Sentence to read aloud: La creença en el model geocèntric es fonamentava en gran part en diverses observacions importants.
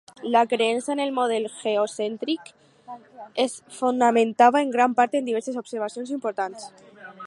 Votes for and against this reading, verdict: 4, 0, accepted